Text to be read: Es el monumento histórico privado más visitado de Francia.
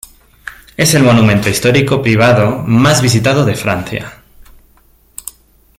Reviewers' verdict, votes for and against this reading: accepted, 2, 0